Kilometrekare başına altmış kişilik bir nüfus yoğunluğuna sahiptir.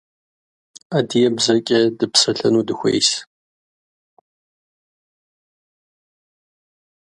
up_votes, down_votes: 0, 2